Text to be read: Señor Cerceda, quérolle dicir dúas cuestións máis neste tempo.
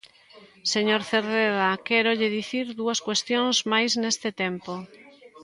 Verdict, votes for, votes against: rejected, 0, 2